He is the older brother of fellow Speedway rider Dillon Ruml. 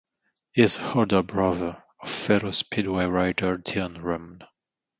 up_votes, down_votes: 1, 2